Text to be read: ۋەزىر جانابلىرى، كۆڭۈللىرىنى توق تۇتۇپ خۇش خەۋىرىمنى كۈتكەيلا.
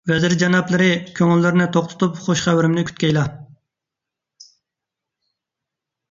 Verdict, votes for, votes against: accepted, 2, 0